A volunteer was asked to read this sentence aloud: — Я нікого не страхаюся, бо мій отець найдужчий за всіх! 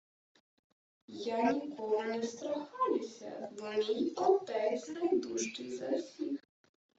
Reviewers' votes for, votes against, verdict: 1, 2, rejected